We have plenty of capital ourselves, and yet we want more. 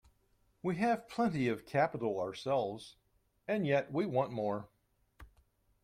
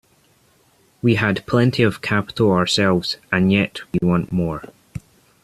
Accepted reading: first